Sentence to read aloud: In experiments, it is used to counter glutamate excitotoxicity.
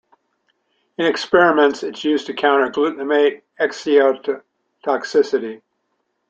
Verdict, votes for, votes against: rejected, 0, 2